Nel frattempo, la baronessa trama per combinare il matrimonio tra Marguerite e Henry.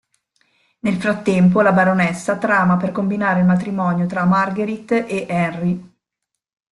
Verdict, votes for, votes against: accepted, 2, 1